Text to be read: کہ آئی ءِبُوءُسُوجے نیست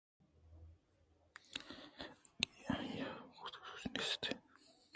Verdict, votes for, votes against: accepted, 2, 0